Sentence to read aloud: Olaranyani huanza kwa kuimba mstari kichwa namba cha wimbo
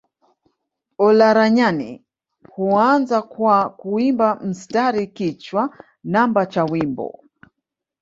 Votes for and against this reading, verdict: 2, 0, accepted